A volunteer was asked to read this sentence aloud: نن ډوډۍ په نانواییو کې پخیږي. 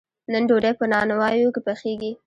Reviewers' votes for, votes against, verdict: 2, 0, accepted